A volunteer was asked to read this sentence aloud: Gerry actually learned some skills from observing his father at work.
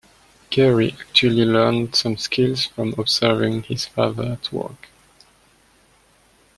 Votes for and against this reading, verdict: 2, 0, accepted